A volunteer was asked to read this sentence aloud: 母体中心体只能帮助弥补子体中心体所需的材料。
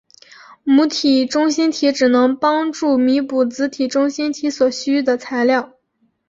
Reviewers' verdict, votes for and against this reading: accepted, 4, 0